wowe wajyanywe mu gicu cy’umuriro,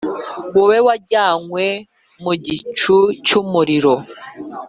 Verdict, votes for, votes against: accepted, 2, 0